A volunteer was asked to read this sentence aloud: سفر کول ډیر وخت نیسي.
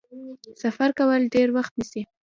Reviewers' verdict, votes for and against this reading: rejected, 0, 2